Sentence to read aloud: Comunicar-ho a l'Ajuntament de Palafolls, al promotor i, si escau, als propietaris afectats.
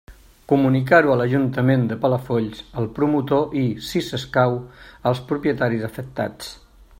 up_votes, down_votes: 3, 0